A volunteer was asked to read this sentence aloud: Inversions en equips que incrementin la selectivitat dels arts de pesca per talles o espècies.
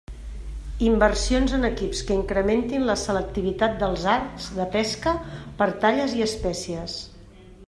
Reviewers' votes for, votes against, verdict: 0, 2, rejected